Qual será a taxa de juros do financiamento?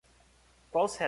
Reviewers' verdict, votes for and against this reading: rejected, 0, 2